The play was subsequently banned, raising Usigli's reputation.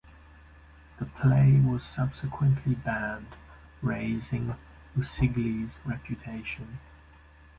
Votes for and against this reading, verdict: 2, 0, accepted